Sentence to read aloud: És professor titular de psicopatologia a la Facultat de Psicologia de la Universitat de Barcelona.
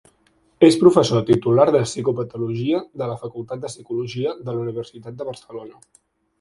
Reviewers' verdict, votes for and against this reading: rejected, 3, 6